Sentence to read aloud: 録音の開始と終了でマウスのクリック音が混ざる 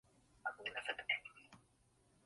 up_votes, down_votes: 0, 2